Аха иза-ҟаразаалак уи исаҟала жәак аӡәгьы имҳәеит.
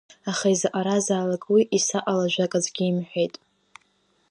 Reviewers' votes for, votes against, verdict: 2, 0, accepted